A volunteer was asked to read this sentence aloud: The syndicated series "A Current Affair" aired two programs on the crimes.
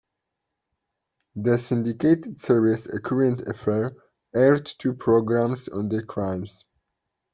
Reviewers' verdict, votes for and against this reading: accepted, 2, 0